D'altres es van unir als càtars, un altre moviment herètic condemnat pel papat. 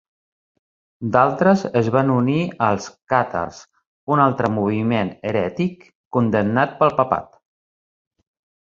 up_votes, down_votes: 2, 0